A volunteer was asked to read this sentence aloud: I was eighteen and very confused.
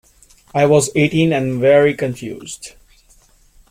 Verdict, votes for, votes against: accepted, 2, 0